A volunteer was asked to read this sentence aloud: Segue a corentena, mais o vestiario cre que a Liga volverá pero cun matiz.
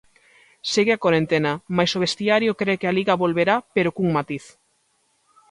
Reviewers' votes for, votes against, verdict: 2, 0, accepted